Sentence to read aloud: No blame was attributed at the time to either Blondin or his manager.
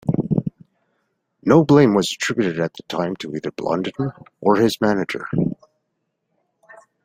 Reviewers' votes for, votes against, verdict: 1, 2, rejected